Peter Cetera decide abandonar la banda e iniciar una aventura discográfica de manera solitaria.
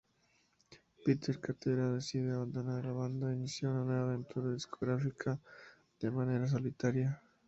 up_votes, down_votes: 0, 2